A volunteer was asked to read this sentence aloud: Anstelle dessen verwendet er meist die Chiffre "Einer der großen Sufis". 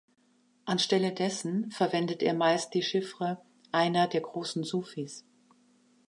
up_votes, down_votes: 2, 0